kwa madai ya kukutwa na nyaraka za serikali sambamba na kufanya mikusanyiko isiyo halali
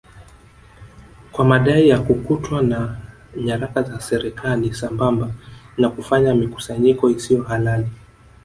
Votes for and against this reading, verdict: 0, 2, rejected